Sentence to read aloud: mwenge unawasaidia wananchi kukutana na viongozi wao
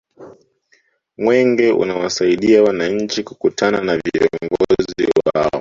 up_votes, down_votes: 0, 2